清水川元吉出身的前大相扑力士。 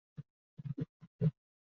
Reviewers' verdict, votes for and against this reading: rejected, 1, 3